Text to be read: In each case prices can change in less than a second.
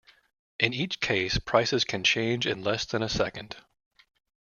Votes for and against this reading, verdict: 2, 0, accepted